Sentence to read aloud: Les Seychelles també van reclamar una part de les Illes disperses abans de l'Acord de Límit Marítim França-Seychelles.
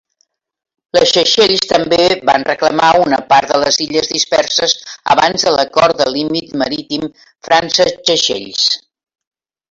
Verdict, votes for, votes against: rejected, 0, 2